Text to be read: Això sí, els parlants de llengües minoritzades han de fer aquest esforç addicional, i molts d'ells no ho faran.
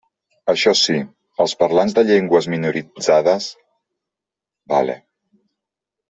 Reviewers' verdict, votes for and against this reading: rejected, 0, 2